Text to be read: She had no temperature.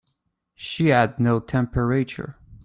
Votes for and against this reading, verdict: 3, 2, accepted